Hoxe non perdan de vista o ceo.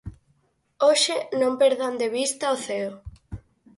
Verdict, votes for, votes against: accepted, 4, 0